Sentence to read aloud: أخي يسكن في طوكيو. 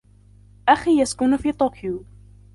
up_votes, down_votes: 0, 2